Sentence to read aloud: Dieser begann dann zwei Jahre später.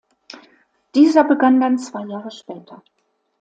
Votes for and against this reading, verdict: 2, 0, accepted